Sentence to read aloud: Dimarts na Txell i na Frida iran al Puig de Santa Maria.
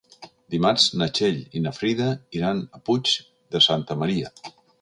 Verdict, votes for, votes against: rejected, 1, 2